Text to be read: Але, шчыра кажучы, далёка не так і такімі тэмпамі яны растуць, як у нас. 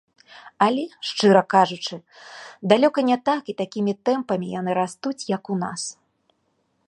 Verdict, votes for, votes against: accepted, 2, 0